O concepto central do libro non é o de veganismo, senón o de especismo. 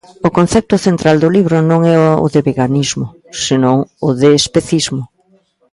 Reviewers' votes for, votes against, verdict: 2, 0, accepted